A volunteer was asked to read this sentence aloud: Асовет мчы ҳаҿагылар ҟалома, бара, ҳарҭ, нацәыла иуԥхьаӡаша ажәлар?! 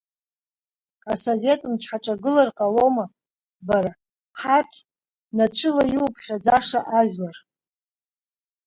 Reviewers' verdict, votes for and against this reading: accepted, 2, 0